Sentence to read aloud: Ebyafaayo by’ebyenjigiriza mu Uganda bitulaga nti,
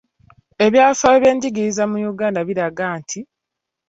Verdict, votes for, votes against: accepted, 2, 1